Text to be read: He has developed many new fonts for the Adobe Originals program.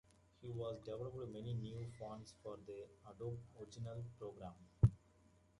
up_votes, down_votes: 0, 2